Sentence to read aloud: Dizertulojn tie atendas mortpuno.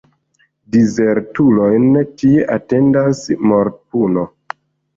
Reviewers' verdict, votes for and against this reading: rejected, 0, 2